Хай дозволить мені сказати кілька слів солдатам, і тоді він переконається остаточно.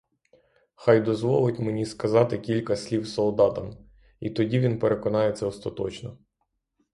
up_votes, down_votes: 3, 0